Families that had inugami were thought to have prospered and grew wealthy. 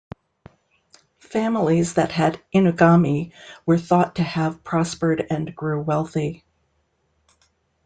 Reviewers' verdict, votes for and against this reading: accepted, 2, 0